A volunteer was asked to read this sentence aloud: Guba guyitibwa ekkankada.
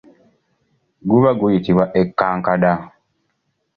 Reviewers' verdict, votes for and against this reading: accepted, 2, 0